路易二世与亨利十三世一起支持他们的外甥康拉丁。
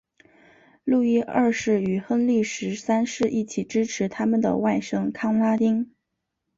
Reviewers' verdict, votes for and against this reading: accepted, 2, 0